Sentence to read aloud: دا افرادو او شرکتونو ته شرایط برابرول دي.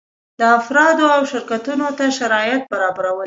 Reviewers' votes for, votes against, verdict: 1, 2, rejected